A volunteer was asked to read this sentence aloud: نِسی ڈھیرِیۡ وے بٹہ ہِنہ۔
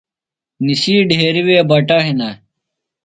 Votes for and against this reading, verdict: 2, 0, accepted